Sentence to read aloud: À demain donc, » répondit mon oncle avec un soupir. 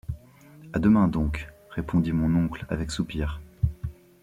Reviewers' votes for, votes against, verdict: 0, 2, rejected